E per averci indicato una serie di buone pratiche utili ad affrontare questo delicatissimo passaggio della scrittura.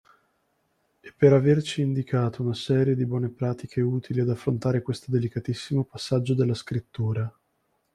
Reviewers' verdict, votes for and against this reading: accepted, 2, 0